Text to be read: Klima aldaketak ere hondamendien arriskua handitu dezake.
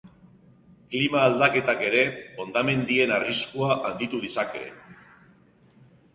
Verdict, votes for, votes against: accepted, 2, 0